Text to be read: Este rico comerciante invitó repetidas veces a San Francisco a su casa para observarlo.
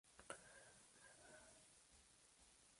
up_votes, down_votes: 0, 2